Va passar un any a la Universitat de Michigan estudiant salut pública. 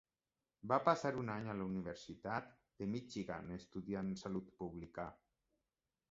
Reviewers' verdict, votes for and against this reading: accepted, 2, 0